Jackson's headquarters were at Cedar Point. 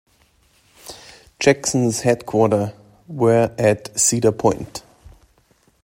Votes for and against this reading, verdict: 0, 2, rejected